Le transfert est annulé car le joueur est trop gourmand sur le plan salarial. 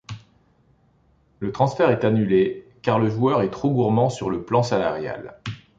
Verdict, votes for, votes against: accepted, 2, 0